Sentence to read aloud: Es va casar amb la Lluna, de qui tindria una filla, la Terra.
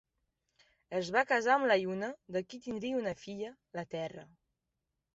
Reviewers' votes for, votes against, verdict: 3, 0, accepted